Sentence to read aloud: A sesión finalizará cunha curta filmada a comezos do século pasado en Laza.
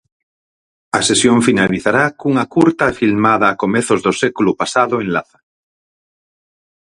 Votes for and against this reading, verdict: 4, 0, accepted